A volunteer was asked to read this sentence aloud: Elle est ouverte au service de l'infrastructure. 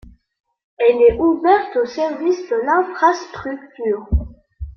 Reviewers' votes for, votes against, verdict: 0, 2, rejected